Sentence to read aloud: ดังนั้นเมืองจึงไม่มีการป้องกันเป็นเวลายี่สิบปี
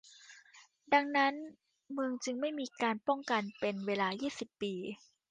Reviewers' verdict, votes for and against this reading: accepted, 2, 0